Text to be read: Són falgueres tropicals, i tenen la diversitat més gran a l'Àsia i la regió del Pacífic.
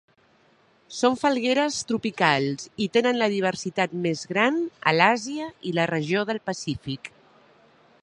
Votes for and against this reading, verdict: 3, 0, accepted